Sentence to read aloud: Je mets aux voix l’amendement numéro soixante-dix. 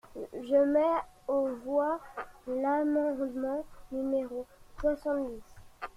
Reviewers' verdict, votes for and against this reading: rejected, 1, 2